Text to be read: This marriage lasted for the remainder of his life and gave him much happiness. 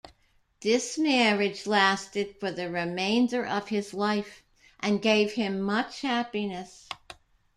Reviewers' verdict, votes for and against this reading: rejected, 1, 2